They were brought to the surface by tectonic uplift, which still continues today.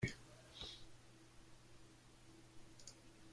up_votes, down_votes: 0, 2